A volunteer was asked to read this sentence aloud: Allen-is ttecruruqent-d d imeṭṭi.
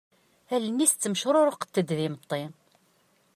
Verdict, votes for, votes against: accepted, 2, 0